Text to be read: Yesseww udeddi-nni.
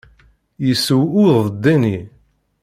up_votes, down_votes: 1, 2